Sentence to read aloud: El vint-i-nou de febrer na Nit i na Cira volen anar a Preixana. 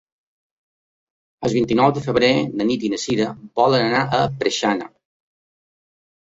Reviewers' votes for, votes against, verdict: 1, 2, rejected